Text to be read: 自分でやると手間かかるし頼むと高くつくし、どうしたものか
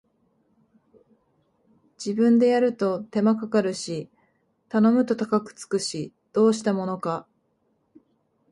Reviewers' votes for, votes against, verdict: 1, 2, rejected